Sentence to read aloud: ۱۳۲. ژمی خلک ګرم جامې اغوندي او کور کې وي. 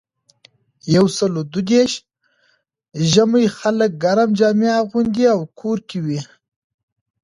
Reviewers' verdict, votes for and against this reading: rejected, 0, 2